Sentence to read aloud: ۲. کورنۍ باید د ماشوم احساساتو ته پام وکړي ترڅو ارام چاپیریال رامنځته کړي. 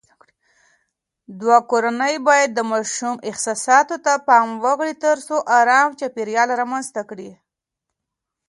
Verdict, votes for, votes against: rejected, 0, 2